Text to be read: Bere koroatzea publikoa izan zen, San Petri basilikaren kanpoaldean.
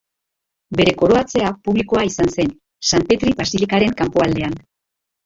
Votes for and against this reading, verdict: 1, 2, rejected